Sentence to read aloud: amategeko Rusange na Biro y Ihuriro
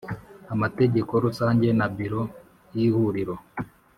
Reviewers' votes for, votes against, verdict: 3, 0, accepted